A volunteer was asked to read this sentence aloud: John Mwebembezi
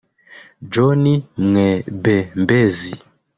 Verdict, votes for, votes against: rejected, 1, 2